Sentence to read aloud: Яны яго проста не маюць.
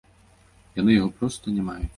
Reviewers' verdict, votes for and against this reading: rejected, 1, 2